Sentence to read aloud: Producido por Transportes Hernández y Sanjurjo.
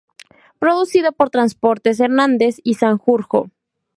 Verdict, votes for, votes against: accepted, 4, 0